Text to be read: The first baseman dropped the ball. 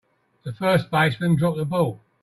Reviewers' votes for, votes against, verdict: 3, 0, accepted